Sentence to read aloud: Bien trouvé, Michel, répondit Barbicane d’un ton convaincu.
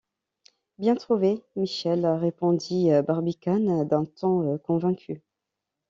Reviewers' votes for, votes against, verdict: 2, 0, accepted